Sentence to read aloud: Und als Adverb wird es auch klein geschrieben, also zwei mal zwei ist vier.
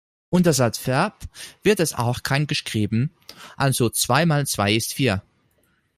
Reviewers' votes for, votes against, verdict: 0, 2, rejected